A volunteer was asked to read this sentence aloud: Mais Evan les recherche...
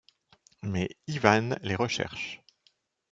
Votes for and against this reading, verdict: 1, 2, rejected